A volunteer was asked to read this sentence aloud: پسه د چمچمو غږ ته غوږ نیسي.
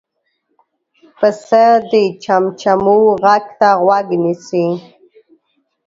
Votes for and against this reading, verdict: 2, 0, accepted